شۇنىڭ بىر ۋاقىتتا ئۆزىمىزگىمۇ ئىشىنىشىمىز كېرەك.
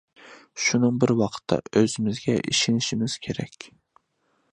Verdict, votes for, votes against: rejected, 0, 2